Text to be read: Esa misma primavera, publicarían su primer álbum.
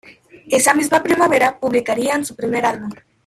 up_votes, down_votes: 0, 2